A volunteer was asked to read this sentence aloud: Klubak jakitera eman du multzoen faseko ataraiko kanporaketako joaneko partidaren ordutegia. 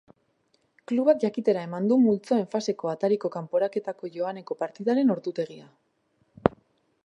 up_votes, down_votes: 2, 0